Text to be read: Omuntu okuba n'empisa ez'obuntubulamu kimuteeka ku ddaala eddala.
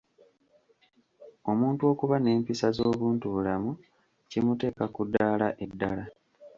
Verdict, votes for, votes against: accepted, 2, 1